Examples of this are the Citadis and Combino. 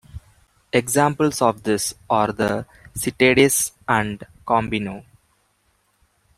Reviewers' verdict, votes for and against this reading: accepted, 2, 1